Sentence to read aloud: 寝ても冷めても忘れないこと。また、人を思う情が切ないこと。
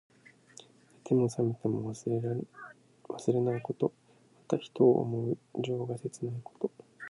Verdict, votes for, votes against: rejected, 0, 2